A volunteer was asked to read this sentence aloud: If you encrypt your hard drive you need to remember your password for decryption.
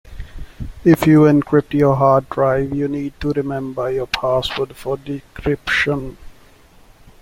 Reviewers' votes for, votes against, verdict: 2, 0, accepted